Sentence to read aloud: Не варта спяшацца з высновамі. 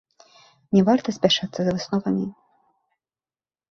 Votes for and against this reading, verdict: 1, 3, rejected